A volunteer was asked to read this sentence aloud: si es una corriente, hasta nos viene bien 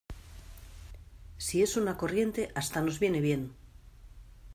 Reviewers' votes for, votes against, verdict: 2, 0, accepted